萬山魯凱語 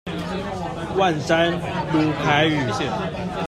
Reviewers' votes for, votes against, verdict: 0, 2, rejected